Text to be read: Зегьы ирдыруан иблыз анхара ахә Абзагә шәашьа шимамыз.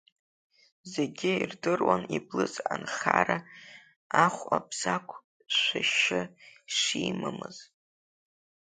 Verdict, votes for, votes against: accepted, 2, 1